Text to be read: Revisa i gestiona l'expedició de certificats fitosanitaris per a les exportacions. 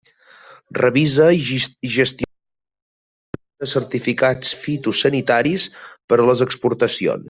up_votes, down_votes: 0, 2